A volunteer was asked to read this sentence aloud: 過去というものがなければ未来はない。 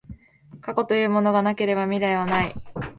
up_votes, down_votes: 10, 0